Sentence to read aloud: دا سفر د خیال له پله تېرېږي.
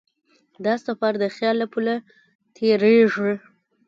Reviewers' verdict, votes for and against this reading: rejected, 1, 2